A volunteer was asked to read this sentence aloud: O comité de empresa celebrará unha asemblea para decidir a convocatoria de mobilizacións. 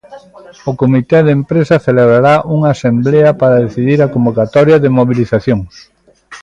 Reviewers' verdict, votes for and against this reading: accepted, 3, 0